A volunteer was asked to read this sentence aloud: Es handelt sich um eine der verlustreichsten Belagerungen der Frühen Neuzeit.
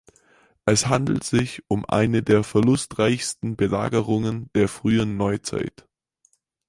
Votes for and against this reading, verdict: 6, 0, accepted